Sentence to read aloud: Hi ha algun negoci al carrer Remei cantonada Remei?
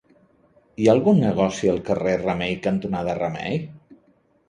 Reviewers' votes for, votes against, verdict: 2, 0, accepted